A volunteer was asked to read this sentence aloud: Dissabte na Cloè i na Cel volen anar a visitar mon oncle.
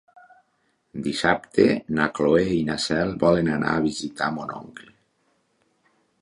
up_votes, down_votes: 1, 2